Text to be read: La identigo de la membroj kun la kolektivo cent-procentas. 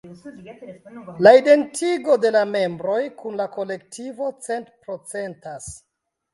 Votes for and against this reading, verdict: 1, 2, rejected